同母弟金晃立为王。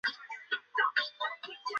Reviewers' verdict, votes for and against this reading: rejected, 0, 2